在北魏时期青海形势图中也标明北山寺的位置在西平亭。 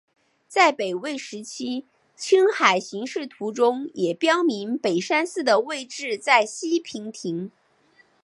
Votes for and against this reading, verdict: 3, 1, accepted